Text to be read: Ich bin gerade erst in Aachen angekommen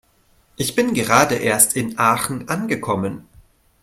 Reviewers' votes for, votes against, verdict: 2, 0, accepted